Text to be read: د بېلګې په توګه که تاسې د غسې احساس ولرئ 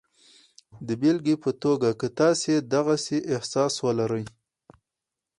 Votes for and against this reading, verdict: 0, 2, rejected